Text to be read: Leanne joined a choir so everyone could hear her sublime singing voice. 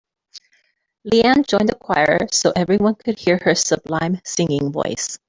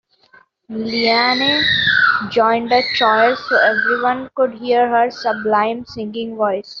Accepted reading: first